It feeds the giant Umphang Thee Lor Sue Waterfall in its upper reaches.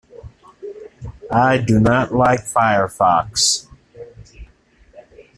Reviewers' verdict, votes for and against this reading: rejected, 0, 2